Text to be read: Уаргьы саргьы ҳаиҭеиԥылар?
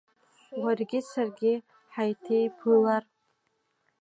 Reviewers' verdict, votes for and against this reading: accepted, 3, 1